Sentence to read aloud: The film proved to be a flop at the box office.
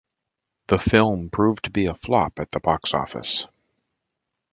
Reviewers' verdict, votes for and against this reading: accepted, 2, 0